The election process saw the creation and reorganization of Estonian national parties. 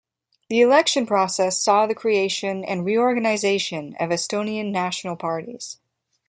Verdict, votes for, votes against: accepted, 2, 0